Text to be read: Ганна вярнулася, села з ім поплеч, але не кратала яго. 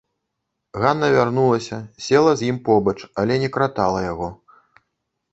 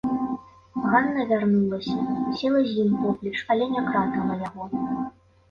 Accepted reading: second